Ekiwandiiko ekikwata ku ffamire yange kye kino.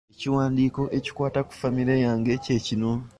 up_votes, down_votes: 1, 2